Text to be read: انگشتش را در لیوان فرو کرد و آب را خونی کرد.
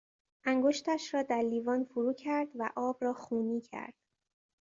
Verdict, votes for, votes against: accepted, 2, 0